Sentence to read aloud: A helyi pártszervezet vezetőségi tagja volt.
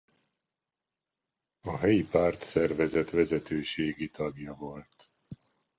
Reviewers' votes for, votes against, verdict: 2, 0, accepted